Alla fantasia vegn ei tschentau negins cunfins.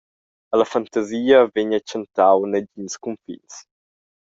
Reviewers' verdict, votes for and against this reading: accepted, 2, 0